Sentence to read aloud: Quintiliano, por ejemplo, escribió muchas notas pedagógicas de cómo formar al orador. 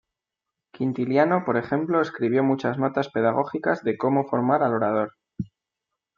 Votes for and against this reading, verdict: 2, 0, accepted